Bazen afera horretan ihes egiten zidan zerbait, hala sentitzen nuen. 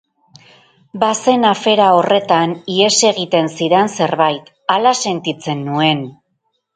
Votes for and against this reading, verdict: 0, 2, rejected